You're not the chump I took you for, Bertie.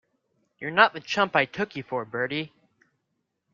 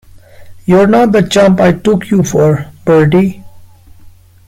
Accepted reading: first